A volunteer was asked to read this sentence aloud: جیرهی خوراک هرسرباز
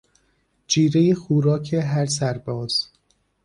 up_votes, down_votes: 1, 2